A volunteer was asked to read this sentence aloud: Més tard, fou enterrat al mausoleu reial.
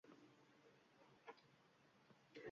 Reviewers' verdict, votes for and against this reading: rejected, 0, 2